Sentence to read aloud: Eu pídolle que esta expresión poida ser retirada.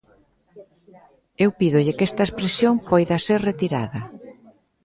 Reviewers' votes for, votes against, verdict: 0, 2, rejected